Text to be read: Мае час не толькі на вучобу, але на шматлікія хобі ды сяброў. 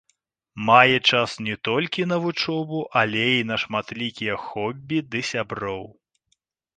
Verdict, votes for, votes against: rejected, 0, 2